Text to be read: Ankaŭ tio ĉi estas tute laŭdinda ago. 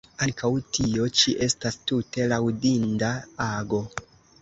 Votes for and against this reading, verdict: 0, 2, rejected